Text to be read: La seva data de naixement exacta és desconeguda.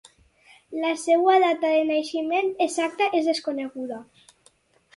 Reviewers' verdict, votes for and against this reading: accepted, 4, 0